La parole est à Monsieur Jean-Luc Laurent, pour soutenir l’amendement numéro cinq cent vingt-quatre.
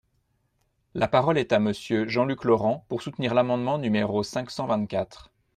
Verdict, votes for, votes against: accepted, 2, 0